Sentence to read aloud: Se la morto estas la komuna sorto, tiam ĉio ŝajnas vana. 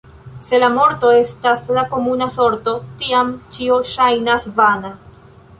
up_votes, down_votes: 2, 0